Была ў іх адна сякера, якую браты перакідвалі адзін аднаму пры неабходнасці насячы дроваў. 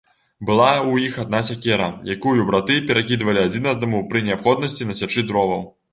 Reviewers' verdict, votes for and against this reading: accepted, 2, 0